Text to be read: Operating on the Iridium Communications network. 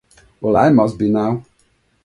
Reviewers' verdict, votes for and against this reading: rejected, 0, 2